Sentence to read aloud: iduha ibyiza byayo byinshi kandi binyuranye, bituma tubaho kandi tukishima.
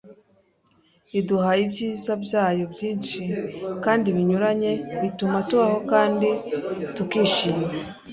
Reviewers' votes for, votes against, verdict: 2, 0, accepted